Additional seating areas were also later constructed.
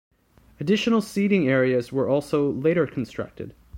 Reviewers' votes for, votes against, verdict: 2, 0, accepted